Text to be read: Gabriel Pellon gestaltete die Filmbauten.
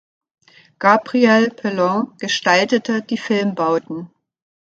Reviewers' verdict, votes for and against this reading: accepted, 2, 0